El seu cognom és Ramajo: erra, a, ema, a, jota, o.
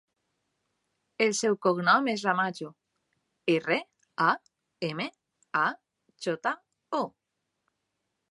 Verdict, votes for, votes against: rejected, 1, 2